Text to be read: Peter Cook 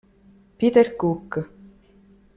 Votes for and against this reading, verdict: 2, 0, accepted